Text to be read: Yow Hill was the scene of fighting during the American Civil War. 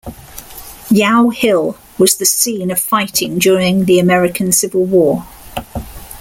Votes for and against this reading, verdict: 2, 0, accepted